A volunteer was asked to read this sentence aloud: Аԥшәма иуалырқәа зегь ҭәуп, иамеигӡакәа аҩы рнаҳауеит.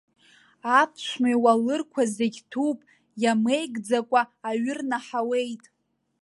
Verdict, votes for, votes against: accepted, 2, 0